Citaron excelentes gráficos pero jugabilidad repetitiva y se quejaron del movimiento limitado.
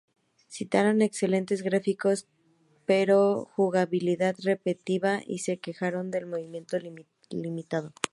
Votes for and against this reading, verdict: 0, 2, rejected